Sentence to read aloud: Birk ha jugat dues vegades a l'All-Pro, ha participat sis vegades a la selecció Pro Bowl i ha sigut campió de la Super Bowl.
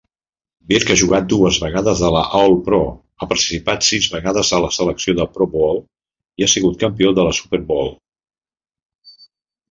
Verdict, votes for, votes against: rejected, 0, 2